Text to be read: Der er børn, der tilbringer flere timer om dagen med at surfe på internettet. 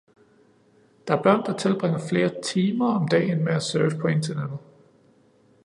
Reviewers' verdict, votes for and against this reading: accepted, 2, 0